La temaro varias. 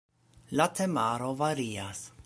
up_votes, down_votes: 2, 0